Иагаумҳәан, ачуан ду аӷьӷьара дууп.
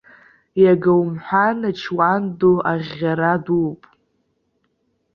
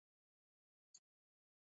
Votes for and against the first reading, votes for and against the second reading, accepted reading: 2, 1, 0, 2, first